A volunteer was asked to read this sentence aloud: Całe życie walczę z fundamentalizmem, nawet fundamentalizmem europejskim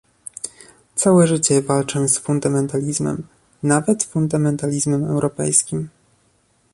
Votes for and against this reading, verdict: 2, 0, accepted